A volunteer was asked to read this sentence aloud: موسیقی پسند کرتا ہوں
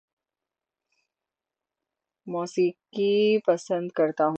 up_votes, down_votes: 6, 0